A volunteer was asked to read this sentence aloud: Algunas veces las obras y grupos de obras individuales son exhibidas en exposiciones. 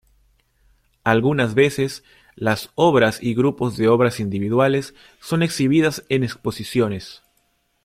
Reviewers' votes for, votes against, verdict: 2, 0, accepted